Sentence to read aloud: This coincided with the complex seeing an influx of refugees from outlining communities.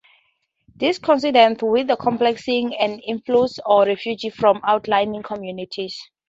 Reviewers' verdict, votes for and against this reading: rejected, 0, 2